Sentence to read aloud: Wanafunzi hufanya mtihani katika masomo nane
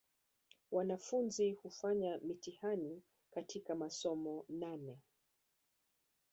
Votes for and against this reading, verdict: 1, 2, rejected